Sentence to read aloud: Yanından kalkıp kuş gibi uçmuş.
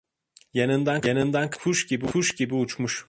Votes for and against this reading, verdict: 0, 2, rejected